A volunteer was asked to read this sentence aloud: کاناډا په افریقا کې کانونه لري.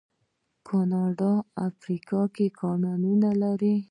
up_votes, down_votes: 0, 2